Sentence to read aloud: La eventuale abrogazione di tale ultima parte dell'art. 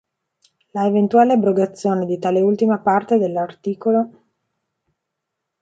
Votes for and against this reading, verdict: 1, 2, rejected